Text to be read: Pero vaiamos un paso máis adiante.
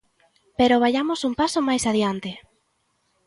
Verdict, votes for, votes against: accepted, 2, 0